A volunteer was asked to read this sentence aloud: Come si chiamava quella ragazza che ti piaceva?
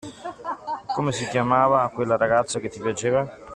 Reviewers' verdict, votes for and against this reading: rejected, 0, 2